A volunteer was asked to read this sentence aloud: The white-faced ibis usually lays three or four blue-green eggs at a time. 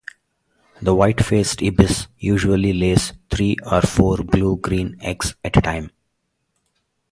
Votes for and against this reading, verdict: 2, 0, accepted